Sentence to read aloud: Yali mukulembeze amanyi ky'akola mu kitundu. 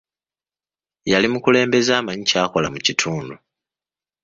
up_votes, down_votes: 2, 0